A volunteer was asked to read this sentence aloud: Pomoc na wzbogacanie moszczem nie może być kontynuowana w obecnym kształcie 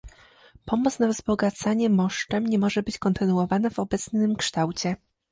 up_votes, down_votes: 2, 0